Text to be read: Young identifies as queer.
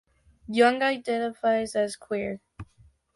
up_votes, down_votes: 2, 0